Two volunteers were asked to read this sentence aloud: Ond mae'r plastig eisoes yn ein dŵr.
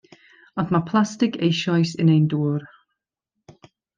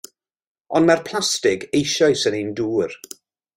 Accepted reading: second